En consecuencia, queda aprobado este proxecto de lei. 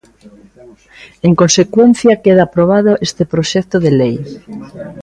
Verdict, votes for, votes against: rejected, 0, 2